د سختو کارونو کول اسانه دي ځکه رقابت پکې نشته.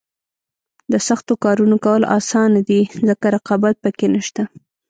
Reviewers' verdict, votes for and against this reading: rejected, 1, 2